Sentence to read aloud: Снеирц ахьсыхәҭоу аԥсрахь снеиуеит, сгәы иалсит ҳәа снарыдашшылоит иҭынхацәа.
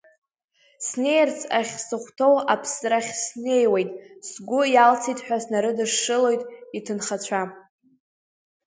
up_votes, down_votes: 2, 0